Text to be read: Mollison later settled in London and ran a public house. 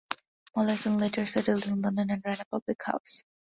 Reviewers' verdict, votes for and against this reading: accepted, 2, 0